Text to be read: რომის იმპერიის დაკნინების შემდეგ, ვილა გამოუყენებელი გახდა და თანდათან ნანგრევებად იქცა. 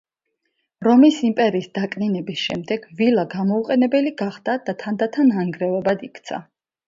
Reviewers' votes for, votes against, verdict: 2, 0, accepted